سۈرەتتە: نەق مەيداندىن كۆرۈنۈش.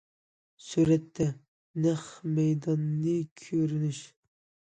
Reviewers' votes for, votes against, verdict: 0, 2, rejected